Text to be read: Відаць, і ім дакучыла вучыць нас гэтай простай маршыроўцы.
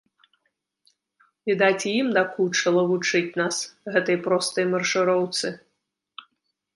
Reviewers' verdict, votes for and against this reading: accepted, 2, 0